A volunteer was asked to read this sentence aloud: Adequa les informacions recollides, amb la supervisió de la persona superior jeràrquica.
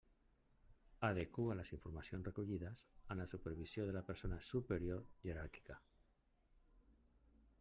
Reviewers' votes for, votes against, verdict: 1, 2, rejected